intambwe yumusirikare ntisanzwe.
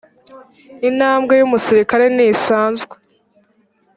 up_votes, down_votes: 2, 0